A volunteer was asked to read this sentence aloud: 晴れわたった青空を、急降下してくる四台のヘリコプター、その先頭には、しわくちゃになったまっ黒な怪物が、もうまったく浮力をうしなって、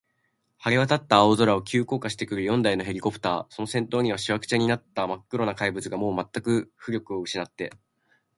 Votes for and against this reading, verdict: 2, 0, accepted